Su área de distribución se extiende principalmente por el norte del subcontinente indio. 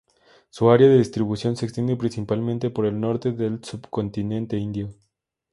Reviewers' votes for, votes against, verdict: 2, 0, accepted